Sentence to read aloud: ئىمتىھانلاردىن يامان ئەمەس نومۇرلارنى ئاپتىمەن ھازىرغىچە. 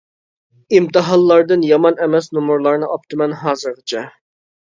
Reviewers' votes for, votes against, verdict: 2, 0, accepted